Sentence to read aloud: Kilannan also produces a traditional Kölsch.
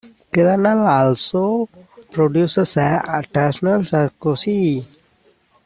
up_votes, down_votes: 0, 2